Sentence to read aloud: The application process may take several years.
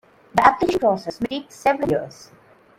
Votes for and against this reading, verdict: 0, 2, rejected